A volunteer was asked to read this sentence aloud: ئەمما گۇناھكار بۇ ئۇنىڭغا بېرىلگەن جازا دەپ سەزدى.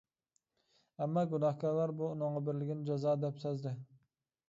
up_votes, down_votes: 0, 2